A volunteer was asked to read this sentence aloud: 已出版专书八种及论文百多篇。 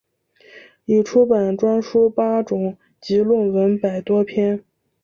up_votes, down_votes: 2, 0